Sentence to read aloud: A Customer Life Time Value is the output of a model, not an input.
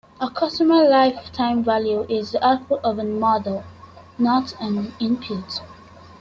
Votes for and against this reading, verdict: 3, 2, accepted